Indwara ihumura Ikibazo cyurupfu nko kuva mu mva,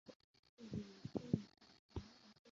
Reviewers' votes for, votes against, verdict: 0, 2, rejected